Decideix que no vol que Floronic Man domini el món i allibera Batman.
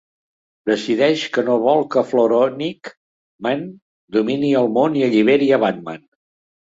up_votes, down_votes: 0, 2